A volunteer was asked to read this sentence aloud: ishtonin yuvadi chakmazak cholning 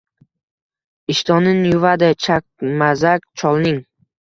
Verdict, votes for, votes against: rejected, 1, 2